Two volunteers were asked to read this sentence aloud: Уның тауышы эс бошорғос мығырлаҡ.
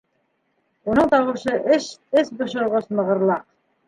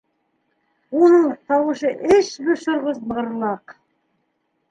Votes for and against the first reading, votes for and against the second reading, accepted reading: 1, 2, 2, 1, second